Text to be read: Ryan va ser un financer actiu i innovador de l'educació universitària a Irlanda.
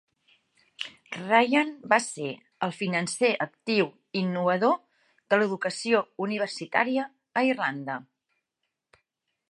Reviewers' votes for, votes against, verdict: 0, 3, rejected